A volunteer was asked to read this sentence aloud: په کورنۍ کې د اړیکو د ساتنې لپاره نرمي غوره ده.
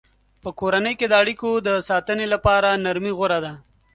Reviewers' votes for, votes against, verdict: 2, 0, accepted